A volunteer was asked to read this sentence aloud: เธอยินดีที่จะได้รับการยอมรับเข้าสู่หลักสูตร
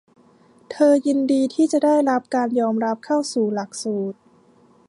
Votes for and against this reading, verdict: 2, 0, accepted